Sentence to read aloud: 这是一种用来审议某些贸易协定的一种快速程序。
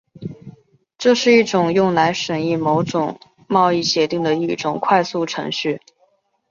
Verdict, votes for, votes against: accepted, 3, 0